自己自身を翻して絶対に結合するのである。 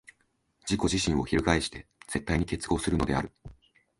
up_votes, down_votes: 2, 0